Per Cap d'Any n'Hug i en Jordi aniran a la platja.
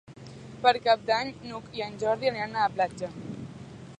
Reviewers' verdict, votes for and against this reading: accepted, 3, 0